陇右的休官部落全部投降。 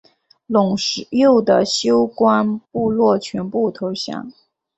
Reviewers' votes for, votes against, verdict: 1, 2, rejected